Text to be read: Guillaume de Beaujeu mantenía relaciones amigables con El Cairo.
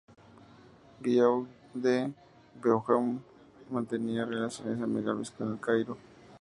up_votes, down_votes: 0, 2